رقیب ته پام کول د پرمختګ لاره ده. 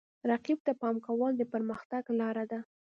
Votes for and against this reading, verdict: 2, 0, accepted